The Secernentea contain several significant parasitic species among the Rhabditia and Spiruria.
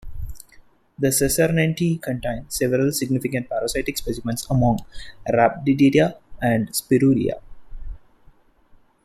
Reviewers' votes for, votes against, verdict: 0, 2, rejected